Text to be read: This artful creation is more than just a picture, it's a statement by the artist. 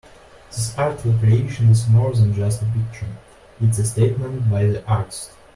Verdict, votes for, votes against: rejected, 1, 2